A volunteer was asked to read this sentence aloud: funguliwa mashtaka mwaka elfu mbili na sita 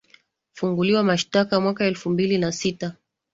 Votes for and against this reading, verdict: 2, 0, accepted